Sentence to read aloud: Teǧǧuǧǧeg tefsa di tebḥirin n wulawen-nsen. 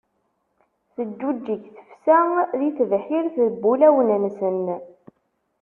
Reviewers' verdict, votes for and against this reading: rejected, 1, 2